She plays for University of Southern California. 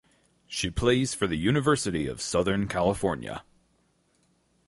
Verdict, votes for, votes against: rejected, 0, 2